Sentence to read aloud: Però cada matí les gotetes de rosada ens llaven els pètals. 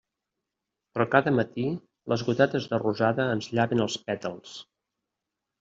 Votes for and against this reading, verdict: 2, 0, accepted